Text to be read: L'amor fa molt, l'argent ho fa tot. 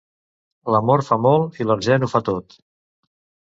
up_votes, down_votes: 1, 2